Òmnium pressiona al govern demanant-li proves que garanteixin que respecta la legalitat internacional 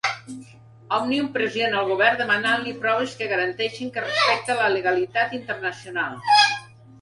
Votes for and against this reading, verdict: 2, 1, accepted